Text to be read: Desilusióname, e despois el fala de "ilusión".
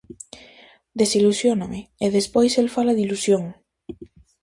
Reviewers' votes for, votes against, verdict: 2, 0, accepted